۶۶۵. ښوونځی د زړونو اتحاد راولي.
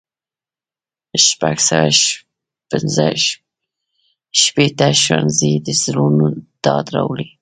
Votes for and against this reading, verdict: 0, 2, rejected